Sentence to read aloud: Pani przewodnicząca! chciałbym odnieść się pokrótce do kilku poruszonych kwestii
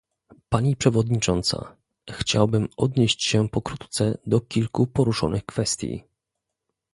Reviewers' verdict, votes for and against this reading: accepted, 2, 0